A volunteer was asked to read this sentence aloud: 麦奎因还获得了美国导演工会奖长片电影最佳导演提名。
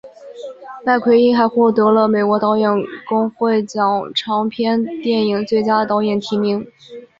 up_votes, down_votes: 1, 2